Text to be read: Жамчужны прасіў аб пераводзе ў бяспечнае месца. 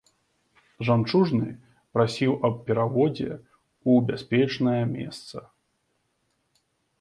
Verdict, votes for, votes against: accepted, 2, 0